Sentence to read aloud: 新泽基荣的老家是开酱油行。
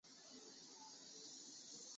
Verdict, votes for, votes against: rejected, 0, 2